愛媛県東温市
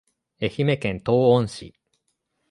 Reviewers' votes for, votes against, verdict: 2, 0, accepted